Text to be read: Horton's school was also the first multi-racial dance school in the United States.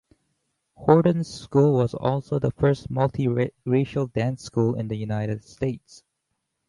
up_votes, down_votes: 0, 4